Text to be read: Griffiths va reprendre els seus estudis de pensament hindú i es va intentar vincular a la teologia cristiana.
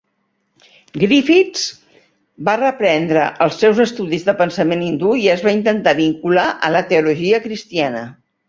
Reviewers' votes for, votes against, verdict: 3, 0, accepted